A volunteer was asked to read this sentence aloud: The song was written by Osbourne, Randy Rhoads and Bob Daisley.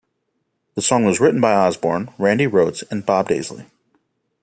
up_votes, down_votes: 2, 0